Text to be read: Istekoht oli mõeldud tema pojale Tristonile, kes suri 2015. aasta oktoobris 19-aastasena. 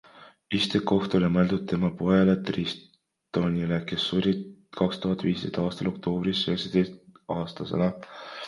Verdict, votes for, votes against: rejected, 0, 2